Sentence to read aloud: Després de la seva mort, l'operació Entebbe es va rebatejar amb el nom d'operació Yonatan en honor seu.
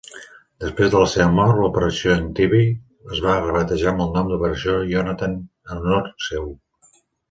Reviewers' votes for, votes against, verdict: 0, 2, rejected